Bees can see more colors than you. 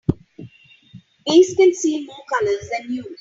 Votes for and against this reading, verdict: 2, 3, rejected